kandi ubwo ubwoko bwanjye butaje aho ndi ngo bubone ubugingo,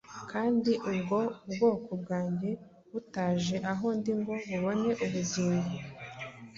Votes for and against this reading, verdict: 2, 0, accepted